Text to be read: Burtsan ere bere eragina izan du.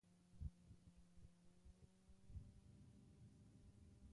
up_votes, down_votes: 0, 2